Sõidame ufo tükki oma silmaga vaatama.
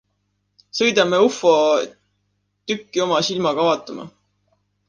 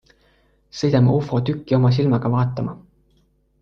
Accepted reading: second